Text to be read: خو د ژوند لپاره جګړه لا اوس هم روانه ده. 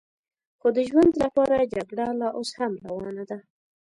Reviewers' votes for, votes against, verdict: 2, 0, accepted